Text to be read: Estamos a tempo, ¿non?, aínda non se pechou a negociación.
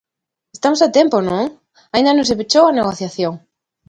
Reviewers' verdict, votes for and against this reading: accepted, 2, 0